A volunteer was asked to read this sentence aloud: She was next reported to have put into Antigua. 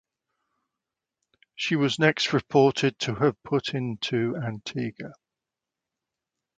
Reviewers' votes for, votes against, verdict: 2, 0, accepted